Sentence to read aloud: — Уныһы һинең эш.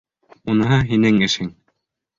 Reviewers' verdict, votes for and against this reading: rejected, 0, 2